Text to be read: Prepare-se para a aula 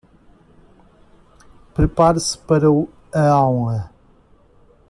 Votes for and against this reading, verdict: 0, 2, rejected